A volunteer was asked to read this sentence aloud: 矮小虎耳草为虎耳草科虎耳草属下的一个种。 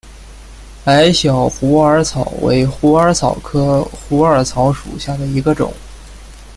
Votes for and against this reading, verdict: 2, 0, accepted